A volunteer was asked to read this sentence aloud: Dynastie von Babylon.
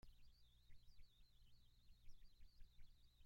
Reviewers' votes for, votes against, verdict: 0, 2, rejected